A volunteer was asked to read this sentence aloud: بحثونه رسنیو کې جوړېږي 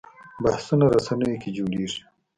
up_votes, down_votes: 1, 2